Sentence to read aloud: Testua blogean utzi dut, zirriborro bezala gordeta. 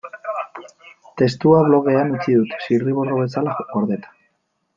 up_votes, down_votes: 0, 2